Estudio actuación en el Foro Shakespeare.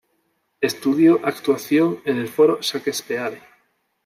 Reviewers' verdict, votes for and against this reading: rejected, 0, 2